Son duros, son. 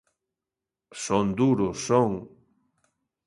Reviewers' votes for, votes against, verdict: 2, 0, accepted